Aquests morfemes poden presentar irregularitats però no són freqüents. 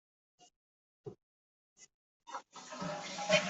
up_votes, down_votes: 0, 2